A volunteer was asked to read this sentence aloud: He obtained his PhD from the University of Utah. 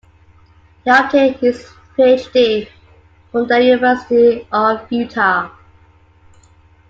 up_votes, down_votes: 1, 2